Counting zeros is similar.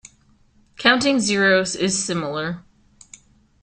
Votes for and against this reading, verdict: 2, 0, accepted